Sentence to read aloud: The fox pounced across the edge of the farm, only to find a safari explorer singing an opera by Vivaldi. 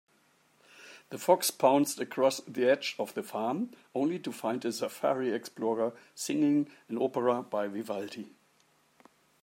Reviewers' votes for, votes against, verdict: 2, 0, accepted